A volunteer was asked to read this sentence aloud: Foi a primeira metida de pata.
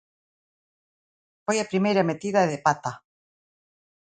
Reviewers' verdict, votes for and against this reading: accepted, 2, 0